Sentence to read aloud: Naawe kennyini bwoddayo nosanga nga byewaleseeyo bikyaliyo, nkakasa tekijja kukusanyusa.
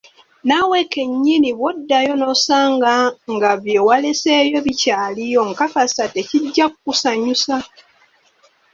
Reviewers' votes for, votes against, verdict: 2, 1, accepted